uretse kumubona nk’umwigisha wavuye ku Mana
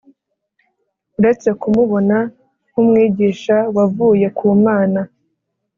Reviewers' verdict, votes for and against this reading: accepted, 3, 0